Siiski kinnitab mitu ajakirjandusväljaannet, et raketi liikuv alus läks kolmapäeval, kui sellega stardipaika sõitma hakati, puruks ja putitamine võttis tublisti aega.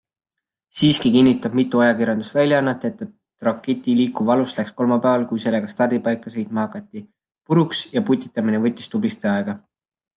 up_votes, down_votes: 2, 0